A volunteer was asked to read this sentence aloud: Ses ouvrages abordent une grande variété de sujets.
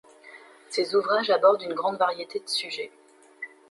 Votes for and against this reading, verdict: 2, 0, accepted